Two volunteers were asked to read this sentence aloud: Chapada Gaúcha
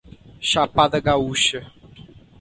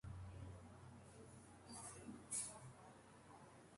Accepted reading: first